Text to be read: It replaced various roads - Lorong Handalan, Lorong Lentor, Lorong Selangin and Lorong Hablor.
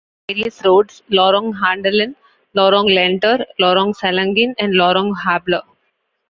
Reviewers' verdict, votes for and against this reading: rejected, 0, 2